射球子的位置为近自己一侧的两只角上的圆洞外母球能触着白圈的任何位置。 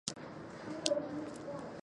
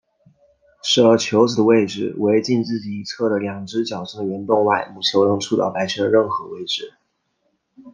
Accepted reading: second